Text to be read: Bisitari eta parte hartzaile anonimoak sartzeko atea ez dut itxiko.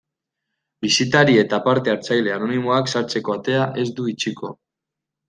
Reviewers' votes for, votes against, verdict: 0, 2, rejected